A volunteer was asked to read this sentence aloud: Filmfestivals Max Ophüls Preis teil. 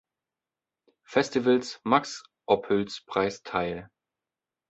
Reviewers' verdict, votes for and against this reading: rejected, 0, 2